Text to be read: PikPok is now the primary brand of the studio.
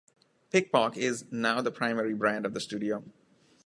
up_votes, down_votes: 1, 2